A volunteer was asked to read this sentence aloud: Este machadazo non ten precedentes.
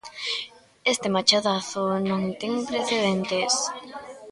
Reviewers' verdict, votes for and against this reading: rejected, 0, 2